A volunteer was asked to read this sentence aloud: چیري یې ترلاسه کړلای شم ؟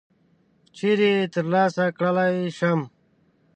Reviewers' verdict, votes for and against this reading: accepted, 3, 0